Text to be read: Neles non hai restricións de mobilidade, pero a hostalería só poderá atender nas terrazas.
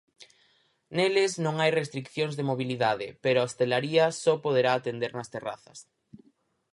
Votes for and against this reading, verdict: 0, 4, rejected